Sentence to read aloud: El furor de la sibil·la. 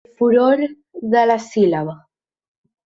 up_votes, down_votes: 1, 2